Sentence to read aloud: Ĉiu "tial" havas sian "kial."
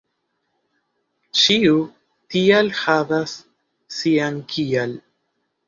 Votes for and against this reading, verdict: 3, 0, accepted